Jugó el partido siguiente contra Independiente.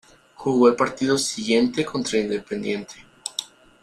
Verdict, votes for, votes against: accepted, 3, 1